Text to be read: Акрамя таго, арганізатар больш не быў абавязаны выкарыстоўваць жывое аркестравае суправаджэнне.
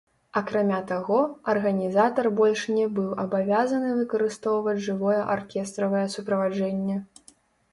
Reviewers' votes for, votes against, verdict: 1, 2, rejected